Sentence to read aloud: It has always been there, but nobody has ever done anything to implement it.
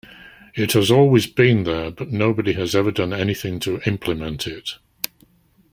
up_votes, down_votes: 2, 0